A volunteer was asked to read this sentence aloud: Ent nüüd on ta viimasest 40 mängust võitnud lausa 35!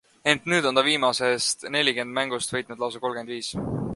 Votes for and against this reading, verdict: 0, 2, rejected